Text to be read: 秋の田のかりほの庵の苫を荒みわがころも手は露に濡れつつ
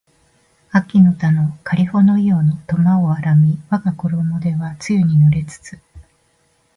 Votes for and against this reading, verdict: 2, 0, accepted